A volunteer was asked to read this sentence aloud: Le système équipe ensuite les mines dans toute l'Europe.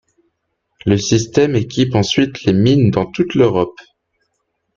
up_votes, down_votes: 2, 0